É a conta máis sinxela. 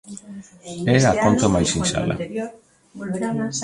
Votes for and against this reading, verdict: 1, 2, rejected